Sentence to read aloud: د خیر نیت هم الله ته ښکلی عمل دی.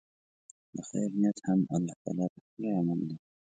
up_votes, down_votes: 0, 2